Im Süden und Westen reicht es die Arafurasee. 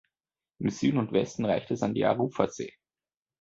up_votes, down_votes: 1, 3